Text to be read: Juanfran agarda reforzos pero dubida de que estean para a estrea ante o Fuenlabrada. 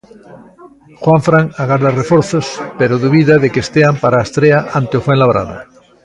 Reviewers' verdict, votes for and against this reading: accepted, 3, 0